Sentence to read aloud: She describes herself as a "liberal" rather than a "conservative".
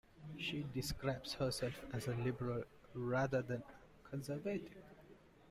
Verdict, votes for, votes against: rejected, 1, 2